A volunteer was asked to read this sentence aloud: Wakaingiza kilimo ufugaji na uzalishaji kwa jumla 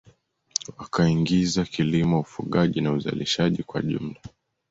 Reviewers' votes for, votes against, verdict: 2, 0, accepted